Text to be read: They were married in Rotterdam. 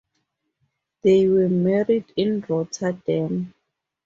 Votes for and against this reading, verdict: 4, 0, accepted